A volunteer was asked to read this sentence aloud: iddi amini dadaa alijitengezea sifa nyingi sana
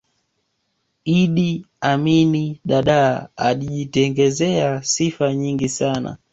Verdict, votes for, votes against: rejected, 1, 2